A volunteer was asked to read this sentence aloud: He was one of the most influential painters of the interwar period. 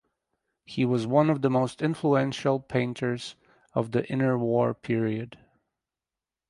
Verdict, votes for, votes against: rejected, 2, 2